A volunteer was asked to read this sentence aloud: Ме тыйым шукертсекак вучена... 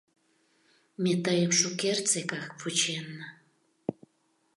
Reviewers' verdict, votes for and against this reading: rejected, 0, 2